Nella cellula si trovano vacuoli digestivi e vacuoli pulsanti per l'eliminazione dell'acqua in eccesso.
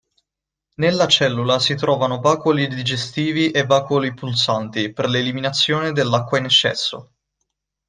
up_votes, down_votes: 1, 2